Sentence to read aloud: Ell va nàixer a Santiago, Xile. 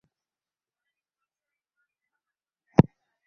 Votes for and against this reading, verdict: 2, 4, rejected